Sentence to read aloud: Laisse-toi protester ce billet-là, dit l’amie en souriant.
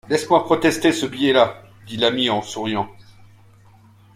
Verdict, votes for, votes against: accepted, 2, 0